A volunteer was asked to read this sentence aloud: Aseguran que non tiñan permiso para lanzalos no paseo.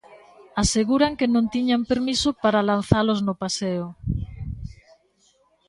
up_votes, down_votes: 1, 2